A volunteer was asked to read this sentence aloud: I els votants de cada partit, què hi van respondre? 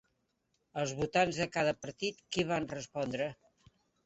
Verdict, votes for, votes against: rejected, 3, 4